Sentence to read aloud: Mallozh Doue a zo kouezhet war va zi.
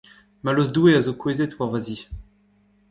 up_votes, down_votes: 1, 2